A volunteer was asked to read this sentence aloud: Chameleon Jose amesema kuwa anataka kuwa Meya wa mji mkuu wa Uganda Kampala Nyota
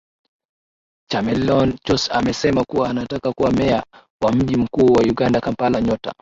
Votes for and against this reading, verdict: 3, 0, accepted